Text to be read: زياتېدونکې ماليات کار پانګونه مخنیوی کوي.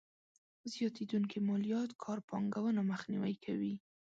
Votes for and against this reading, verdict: 2, 0, accepted